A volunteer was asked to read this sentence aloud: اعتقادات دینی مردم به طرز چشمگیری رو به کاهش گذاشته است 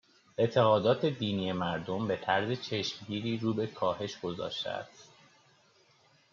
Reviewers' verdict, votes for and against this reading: accepted, 2, 0